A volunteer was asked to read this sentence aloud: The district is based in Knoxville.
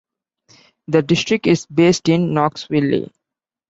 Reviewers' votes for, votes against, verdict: 1, 2, rejected